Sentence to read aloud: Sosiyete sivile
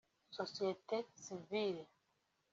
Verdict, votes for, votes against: accepted, 2, 1